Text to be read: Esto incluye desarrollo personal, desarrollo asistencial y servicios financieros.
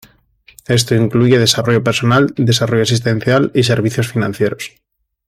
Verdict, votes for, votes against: accepted, 2, 0